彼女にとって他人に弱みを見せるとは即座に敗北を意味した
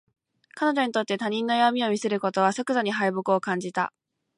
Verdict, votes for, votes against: rejected, 1, 2